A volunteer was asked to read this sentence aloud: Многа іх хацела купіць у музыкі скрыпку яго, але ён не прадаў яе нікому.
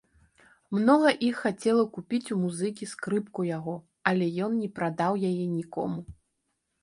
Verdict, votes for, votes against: accepted, 2, 0